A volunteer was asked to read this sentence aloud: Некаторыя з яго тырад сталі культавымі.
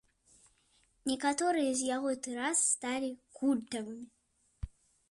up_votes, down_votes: 2, 3